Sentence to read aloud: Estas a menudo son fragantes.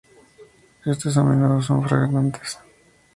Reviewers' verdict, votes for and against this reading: rejected, 2, 2